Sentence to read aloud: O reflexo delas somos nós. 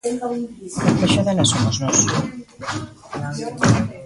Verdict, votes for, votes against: rejected, 0, 2